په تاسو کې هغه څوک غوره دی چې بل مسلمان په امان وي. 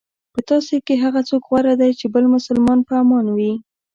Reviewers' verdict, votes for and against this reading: accepted, 2, 0